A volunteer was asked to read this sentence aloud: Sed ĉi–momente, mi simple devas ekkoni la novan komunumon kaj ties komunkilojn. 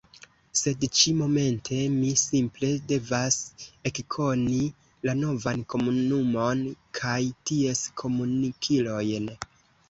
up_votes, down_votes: 2, 0